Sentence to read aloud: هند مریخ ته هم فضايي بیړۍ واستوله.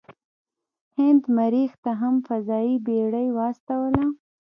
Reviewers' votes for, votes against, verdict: 0, 2, rejected